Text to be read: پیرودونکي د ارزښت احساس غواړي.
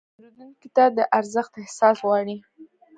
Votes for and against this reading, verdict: 0, 2, rejected